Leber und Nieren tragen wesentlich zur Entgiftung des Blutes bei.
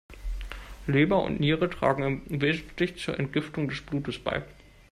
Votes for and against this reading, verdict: 1, 2, rejected